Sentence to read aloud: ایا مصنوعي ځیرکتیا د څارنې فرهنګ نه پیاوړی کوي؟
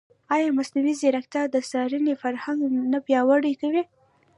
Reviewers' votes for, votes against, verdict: 1, 2, rejected